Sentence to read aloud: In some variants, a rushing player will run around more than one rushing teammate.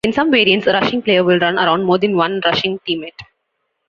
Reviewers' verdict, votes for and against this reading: accepted, 2, 0